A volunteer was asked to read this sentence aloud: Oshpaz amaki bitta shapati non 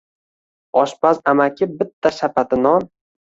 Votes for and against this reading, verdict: 1, 2, rejected